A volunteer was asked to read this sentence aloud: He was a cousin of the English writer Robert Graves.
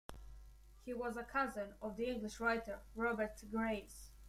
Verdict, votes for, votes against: accepted, 2, 0